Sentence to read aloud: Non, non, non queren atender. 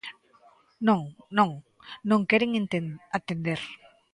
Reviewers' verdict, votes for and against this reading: rejected, 0, 2